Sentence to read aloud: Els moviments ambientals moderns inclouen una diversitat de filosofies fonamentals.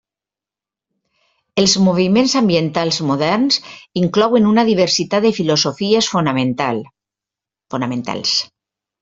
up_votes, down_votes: 0, 2